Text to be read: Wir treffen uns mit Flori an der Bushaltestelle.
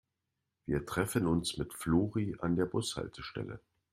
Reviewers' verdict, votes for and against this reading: accepted, 2, 0